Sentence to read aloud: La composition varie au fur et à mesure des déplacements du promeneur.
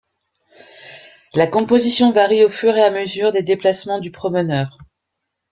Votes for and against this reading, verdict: 2, 0, accepted